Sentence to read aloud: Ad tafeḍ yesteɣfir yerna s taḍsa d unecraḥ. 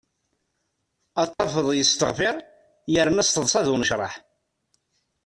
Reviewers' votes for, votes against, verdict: 1, 2, rejected